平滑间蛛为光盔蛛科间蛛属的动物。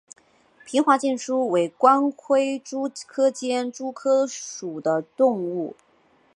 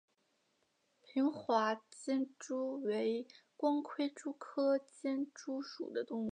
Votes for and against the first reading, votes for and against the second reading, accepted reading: 1, 2, 2, 0, second